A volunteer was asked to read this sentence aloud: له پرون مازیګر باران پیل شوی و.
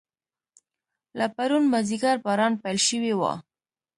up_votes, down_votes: 2, 0